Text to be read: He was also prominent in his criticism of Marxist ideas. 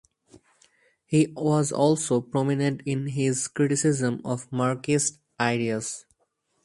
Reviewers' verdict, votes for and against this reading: rejected, 0, 2